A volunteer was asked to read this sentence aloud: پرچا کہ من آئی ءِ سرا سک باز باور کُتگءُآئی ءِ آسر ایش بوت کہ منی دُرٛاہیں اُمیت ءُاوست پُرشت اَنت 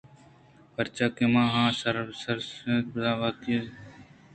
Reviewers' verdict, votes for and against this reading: rejected, 1, 2